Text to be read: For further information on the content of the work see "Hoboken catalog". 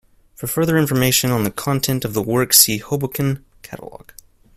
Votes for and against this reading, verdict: 2, 0, accepted